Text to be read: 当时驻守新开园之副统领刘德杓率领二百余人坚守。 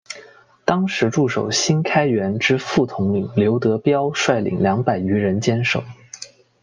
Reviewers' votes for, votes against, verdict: 2, 0, accepted